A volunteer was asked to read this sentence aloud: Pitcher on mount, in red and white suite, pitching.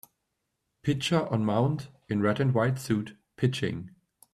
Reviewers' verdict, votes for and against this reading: rejected, 0, 2